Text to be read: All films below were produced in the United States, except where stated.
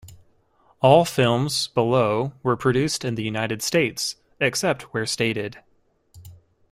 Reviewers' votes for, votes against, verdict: 2, 0, accepted